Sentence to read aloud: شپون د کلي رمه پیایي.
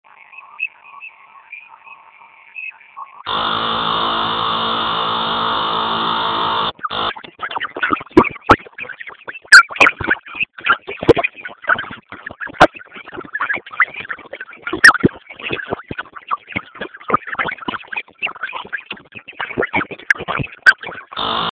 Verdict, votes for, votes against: rejected, 0, 2